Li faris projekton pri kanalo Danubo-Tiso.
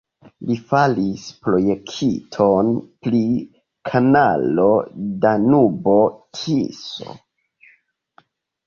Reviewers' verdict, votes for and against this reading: accepted, 2, 1